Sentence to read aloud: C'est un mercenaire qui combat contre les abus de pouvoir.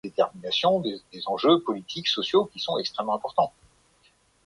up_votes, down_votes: 0, 2